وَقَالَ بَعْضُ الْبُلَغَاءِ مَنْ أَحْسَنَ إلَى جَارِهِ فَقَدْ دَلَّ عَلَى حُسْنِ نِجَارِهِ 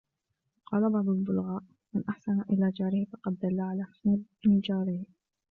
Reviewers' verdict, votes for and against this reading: rejected, 1, 2